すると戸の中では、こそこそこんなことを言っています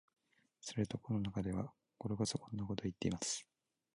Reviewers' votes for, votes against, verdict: 0, 2, rejected